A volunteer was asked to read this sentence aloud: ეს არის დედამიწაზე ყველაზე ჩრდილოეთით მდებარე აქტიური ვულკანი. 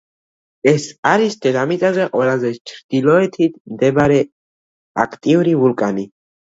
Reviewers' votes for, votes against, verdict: 2, 1, accepted